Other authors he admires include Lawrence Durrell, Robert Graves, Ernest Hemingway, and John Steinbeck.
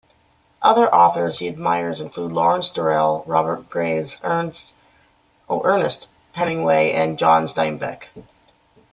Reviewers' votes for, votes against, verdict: 1, 2, rejected